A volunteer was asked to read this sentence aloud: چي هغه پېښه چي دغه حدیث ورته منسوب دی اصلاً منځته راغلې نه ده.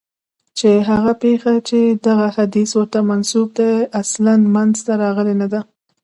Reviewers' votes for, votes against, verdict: 0, 2, rejected